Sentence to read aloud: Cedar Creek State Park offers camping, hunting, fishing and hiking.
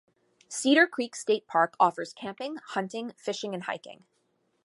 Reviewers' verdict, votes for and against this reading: accepted, 2, 0